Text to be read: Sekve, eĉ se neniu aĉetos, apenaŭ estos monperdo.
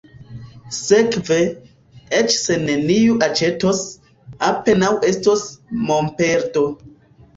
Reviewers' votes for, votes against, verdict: 1, 2, rejected